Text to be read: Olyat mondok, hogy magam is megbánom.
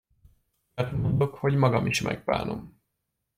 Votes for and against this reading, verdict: 1, 2, rejected